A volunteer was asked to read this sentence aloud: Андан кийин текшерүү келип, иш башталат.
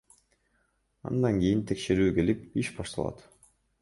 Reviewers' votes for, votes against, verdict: 1, 2, rejected